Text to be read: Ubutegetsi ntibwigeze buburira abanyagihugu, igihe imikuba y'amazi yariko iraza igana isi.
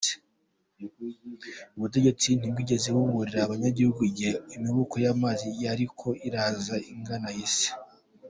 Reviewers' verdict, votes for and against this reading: accepted, 3, 0